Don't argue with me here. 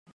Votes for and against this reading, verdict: 0, 2, rejected